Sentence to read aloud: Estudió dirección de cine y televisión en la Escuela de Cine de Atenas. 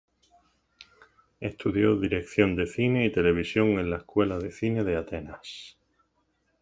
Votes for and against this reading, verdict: 2, 0, accepted